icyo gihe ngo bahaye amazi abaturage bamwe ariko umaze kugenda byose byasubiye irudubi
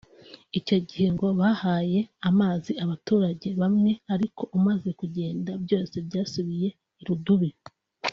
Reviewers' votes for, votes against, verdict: 2, 0, accepted